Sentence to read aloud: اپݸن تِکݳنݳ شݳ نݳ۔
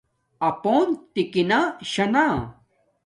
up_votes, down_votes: 1, 2